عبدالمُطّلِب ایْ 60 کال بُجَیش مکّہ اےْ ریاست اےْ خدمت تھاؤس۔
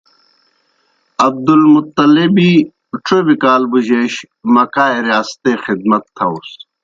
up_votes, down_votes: 0, 2